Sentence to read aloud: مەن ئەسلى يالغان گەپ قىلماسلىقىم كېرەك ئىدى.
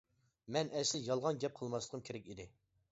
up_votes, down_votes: 0, 2